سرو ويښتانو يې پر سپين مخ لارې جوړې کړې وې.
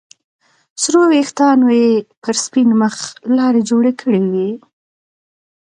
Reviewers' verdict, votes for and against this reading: accepted, 2, 0